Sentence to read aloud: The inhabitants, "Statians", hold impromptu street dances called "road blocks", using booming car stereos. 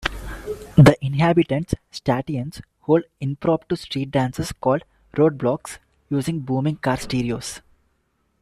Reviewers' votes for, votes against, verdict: 2, 0, accepted